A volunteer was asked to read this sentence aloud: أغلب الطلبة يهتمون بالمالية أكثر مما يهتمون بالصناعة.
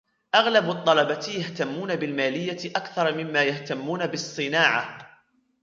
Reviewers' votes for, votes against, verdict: 2, 0, accepted